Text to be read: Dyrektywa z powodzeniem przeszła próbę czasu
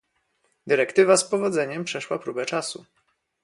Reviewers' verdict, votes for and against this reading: accepted, 2, 0